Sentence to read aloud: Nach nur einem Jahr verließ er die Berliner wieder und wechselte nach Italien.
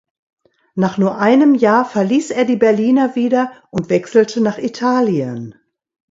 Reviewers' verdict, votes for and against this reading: accepted, 2, 0